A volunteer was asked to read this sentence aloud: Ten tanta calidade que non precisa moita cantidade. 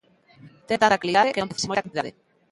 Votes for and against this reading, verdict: 1, 2, rejected